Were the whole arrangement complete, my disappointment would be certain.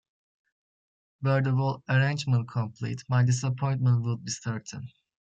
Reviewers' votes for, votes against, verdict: 2, 0, accepted